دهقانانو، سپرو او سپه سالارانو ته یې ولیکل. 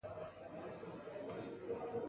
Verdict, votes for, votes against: rejected, 1, 2